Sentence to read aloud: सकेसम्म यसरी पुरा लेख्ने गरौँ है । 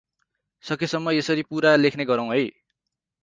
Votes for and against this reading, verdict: 4, 0, accepted